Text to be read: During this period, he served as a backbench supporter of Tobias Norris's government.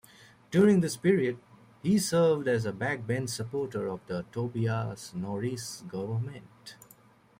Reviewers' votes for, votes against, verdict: 2, 1, accepted